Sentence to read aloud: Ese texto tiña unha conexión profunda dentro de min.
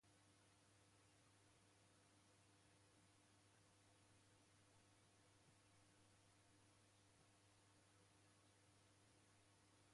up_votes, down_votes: 0, 2